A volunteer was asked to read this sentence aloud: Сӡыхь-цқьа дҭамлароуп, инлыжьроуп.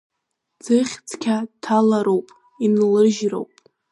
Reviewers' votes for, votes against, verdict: 1, 2, rejected